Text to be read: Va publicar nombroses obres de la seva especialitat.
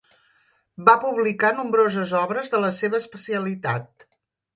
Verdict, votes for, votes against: accepted, 2, 1